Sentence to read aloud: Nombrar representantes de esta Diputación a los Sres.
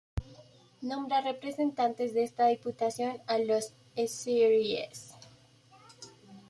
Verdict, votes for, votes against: rejected, 1, 2